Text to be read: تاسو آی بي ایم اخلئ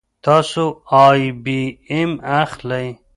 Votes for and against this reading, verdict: 2, 0, accepted